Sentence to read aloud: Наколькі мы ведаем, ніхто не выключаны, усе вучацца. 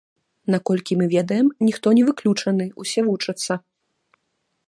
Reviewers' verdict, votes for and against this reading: rejected, 0, 2